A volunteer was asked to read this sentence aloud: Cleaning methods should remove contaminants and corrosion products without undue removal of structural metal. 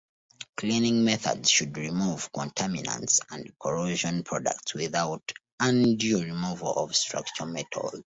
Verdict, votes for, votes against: accepted, 2, 0